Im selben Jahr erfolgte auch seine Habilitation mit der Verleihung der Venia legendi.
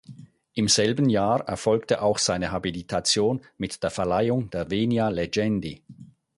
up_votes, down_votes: 4, 0